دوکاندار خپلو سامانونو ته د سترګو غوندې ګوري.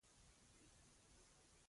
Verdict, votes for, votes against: rejected, 0, 2